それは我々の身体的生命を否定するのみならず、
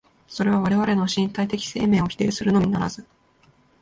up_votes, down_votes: 2, 0